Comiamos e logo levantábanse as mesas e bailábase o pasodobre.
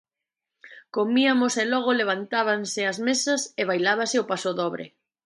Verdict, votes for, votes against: rejected, 0, 2